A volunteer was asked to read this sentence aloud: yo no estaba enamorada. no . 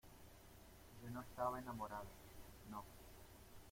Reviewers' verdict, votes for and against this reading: rejected, 1, 2